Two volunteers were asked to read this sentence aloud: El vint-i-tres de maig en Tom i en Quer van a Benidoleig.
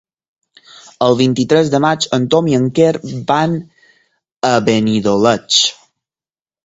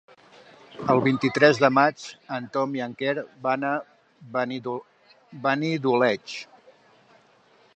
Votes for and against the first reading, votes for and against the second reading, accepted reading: 4, 0, 1, 2, first